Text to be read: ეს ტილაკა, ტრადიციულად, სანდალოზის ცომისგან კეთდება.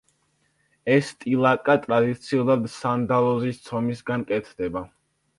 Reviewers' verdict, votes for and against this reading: accepted, 2, 0